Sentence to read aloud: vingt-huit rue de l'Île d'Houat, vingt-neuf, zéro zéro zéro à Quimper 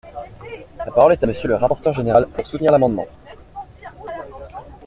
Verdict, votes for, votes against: rejected, 0, 2